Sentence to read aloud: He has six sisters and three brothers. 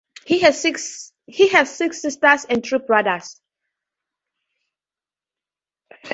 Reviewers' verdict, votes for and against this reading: rejected, 0, 2